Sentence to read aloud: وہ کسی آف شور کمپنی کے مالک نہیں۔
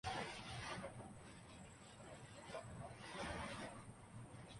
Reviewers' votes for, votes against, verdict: 0, 3, rejected